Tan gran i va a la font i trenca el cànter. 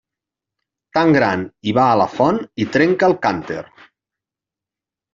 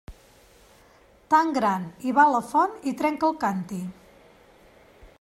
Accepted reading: first